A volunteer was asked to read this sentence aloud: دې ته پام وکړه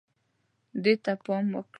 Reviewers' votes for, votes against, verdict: 0, 2, rejected